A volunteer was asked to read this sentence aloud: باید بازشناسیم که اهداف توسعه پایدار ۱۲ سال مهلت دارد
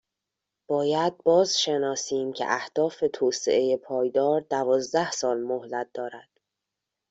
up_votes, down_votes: 0, 2